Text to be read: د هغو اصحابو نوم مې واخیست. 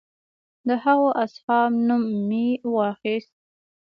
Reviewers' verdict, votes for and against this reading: accepted, 2, 0